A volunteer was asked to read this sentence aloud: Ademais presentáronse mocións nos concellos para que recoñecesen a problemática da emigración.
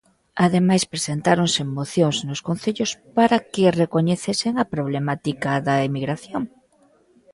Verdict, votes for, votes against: accepted, 2, 0